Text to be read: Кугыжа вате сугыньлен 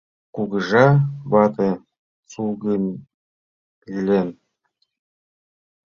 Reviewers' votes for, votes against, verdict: 2, 1, accepted